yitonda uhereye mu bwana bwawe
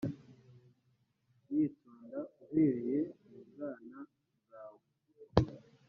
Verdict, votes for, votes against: accepted, 2, 1